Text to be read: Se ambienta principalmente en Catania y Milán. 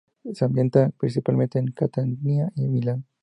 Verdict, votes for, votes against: rejected, 0, 2